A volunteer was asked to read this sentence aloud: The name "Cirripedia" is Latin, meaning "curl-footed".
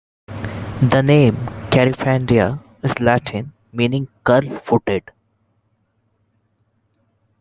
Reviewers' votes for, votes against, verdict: 1, 2, rejected